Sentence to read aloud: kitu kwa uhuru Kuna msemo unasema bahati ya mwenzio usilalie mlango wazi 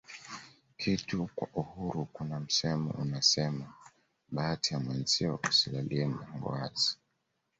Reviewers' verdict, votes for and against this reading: accepted, 2, 1